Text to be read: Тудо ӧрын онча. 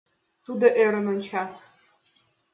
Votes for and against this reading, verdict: 2, 0, accepted